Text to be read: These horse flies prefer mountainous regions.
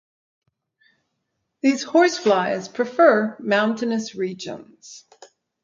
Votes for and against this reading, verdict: 4, 0, accepted